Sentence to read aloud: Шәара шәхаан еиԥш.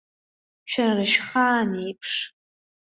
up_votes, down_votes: 2, 0